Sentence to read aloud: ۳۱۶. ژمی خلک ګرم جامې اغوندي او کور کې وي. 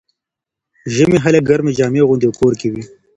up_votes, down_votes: 0, 2